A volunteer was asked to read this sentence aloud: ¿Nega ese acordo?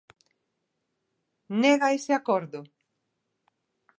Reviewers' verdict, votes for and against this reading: accepted, 2, 0